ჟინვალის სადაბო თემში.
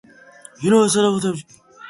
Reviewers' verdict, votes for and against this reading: rejected, 0, 2